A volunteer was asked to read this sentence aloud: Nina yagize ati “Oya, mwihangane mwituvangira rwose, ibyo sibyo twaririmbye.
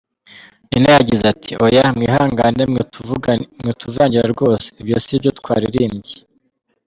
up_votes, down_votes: 1, 2